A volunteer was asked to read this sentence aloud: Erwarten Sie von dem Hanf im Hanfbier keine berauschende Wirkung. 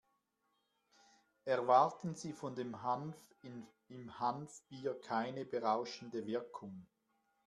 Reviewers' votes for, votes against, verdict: 2, 1, accepted